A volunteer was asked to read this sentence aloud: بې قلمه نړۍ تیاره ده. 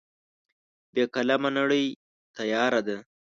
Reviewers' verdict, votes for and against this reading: rejected, 1, 2